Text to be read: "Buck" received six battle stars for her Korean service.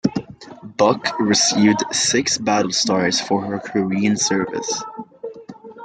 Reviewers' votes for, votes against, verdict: 2, 0, accepted